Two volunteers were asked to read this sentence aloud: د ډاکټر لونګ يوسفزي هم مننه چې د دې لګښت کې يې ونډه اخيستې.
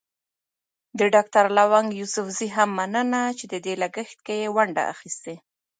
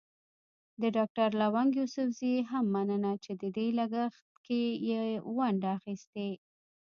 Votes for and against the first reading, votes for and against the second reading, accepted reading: 2, 1, 0, 2, first